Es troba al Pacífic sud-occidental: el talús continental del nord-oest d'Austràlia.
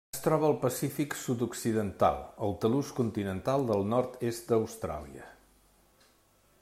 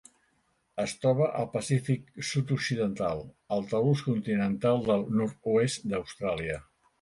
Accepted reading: second